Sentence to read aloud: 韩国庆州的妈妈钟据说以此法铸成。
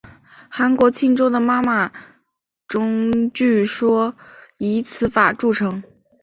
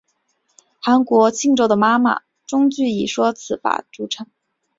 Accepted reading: second